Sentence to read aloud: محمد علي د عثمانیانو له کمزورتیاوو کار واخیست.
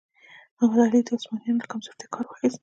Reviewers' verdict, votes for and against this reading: rejected, 0, 2